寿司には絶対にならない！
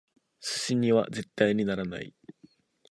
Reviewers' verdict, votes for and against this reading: accepted, 2, 0